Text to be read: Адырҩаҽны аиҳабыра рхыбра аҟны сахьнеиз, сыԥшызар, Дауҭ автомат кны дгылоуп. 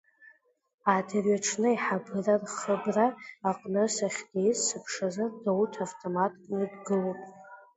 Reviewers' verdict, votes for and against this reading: rejected, 1, 2